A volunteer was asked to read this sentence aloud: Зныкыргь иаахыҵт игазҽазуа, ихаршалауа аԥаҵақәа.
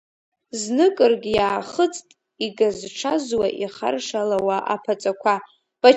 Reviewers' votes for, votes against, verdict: 2, 3, rejected